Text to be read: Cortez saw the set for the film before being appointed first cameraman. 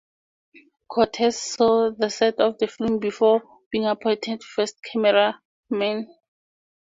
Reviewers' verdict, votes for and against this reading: rejected, 0, 4